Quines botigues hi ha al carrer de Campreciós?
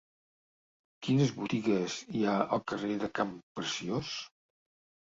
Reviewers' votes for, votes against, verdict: 3, 0, accepted